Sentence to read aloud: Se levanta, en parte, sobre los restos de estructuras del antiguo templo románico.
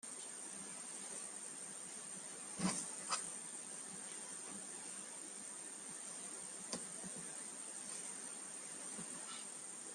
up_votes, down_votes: 0, 2